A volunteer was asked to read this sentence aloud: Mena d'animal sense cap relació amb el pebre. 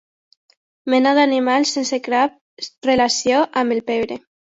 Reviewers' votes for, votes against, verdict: 0, 2, rejected